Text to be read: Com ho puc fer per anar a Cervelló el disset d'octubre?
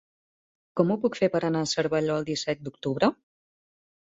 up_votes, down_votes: 3, 0